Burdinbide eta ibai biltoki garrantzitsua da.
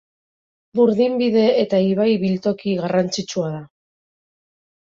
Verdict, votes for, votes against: accepted, 2, 0